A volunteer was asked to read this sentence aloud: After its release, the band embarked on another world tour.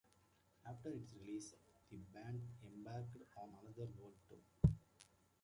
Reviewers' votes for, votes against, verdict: 2, 1, accepted